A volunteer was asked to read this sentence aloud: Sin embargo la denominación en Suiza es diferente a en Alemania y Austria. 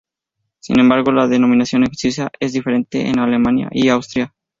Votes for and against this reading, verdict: 2, 2, rejected